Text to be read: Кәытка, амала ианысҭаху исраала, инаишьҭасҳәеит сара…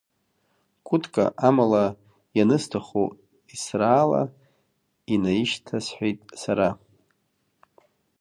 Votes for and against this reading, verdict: 2, 0, accepted